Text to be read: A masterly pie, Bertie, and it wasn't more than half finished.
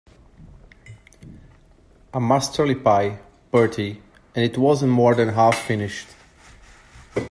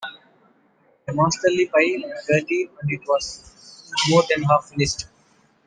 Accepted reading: first